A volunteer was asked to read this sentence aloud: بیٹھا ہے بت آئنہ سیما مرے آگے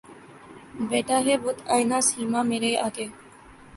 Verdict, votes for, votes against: accepted, 4, 0